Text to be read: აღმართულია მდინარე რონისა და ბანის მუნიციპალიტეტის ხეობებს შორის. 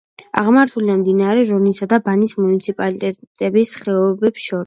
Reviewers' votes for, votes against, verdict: 1, 2, rejected